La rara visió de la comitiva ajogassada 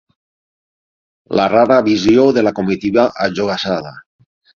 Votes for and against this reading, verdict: 6, 0, accepted